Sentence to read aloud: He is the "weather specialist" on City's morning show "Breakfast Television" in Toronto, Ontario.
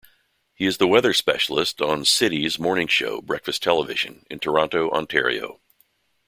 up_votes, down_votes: 2, 0